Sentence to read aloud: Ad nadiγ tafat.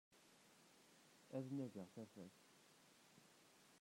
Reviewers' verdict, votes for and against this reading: rejected, 0, 2